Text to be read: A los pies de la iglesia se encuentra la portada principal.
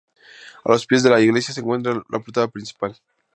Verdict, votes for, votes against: rejected, 0, 2